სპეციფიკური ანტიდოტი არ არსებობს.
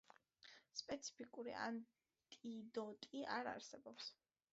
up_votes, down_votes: 2, 0